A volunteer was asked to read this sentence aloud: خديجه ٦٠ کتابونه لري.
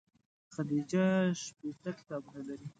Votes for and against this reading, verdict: 0, 2, rejected